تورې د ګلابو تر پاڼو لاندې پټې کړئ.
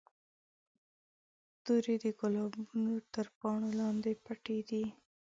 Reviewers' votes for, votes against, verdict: 0, 2, rejected